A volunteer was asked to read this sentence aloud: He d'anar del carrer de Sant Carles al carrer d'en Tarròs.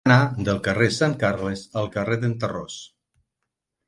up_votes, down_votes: 0, 6